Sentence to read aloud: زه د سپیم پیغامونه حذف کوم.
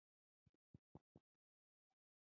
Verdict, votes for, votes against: accepted, 2, 0